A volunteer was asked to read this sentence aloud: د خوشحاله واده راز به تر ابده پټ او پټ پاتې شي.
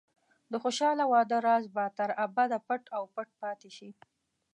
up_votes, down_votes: 2, 0